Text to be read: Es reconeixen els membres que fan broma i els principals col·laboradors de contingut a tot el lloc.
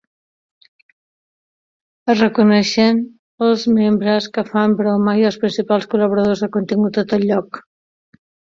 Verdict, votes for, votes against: rejected, 1, 3